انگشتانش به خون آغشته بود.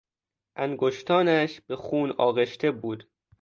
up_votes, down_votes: 2, 0